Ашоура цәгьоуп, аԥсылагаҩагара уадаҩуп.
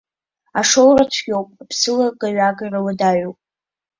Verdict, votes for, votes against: accepted, 2, 0